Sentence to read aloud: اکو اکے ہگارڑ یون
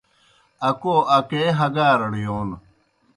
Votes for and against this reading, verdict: 2, 0, accepted